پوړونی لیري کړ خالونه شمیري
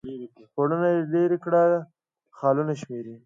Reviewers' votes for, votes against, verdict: 1, 2, rejected